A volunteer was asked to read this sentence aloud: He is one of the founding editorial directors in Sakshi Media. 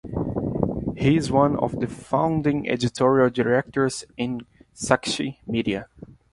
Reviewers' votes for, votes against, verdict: 2, 0, accepted